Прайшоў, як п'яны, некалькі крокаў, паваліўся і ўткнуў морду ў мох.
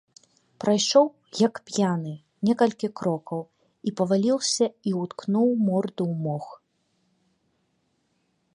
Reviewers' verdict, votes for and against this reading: rejected, 1, 2